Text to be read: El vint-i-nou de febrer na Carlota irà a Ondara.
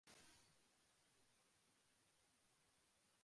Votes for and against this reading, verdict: 0, 3, rejected